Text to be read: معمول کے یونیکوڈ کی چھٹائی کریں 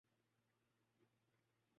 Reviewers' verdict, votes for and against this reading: rejected, 0, 2